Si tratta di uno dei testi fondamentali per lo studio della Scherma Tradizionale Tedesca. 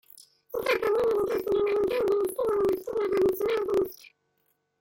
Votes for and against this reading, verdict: 0, 3, rejected